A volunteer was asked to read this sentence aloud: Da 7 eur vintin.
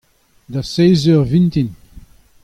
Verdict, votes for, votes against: rejected, 0, 2